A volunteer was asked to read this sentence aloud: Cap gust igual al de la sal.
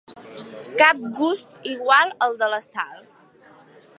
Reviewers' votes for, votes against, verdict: 3, 1, accepted